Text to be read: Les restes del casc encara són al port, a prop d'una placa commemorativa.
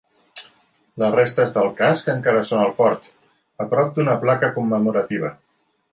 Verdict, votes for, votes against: accepted, 2, 0